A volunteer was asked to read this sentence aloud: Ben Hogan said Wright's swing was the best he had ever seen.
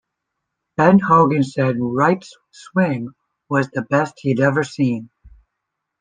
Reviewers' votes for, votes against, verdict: 2, 0, accepted